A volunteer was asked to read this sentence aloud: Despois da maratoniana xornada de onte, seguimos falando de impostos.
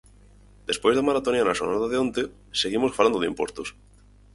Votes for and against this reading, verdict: 4, 0, accepted